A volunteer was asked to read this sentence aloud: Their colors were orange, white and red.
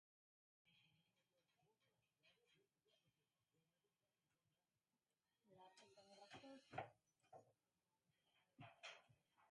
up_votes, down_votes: 0, 2